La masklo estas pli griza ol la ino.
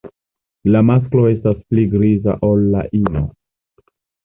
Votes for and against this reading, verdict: 2, 0, accepted